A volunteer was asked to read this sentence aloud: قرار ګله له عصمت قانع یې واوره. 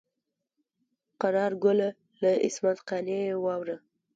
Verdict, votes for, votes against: accepted, 2, 0